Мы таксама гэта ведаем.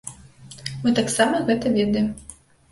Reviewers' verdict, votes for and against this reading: accepted, 2, 0